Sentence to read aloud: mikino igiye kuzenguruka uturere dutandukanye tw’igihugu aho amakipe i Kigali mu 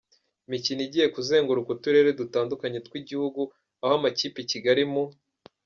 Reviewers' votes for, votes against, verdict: 0, 2, rejected